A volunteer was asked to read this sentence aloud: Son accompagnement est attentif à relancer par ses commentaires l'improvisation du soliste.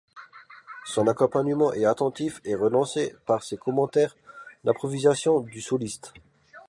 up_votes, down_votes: 0, 2